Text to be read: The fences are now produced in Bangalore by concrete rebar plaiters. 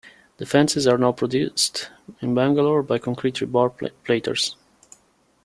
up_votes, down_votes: 2, 0